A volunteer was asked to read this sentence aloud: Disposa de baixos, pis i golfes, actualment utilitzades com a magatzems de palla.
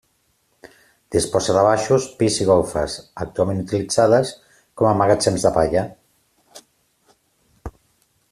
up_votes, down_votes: 2, 0